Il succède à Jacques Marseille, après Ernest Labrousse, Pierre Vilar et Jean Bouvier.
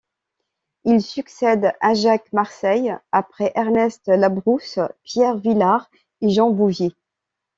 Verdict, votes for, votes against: accepted, 2, 0